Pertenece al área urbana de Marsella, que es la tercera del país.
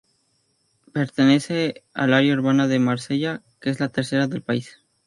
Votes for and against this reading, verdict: 4, 0, accepted